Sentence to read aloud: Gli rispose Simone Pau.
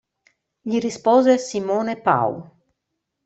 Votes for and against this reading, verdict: 2, 0, accepted